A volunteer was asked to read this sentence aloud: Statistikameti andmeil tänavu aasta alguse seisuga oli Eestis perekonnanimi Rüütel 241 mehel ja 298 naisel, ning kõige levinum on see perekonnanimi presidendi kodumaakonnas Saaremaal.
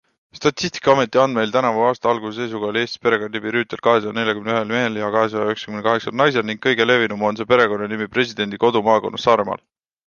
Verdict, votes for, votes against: rejected, 0, 2